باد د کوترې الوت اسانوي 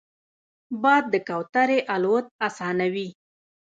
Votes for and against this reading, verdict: 1, 2, rejected